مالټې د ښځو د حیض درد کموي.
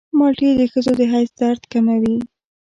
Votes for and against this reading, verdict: 0, 2, rejected